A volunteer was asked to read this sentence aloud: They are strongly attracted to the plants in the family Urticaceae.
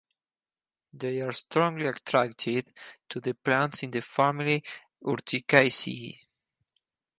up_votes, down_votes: 2, 0